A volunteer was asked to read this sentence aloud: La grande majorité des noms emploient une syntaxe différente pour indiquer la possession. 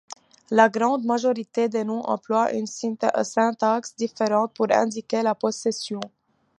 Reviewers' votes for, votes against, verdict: 2, 1, accepted